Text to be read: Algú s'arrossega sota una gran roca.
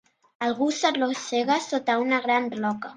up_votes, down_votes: 2, 0